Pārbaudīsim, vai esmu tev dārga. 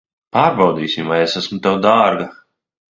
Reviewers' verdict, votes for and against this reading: rejected, 0, 2